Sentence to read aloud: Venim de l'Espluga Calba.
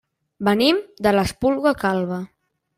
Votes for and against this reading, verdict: 0, 2, rejected